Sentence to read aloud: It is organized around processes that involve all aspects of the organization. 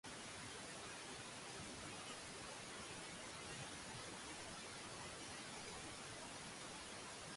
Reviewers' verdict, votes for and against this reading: rejected, 0, 2